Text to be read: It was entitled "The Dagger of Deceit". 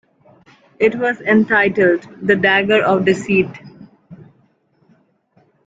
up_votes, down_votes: 2, 0